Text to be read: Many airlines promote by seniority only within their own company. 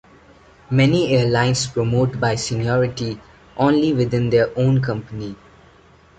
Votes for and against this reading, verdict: 2, 0, accepted